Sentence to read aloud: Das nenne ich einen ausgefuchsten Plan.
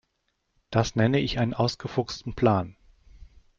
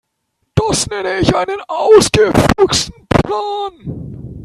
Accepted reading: first